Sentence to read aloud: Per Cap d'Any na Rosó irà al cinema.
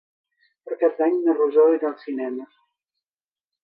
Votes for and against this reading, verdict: 3, 1, accepted